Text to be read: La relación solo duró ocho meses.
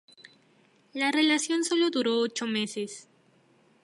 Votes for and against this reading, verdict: 2, 2, rejected